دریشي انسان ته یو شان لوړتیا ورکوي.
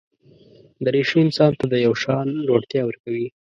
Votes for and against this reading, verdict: 1, 2, rejected